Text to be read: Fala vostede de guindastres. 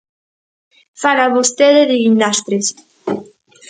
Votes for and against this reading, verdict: 2, 0, accepted